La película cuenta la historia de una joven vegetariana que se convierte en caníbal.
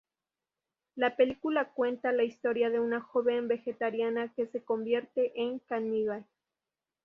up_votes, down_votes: 4, 0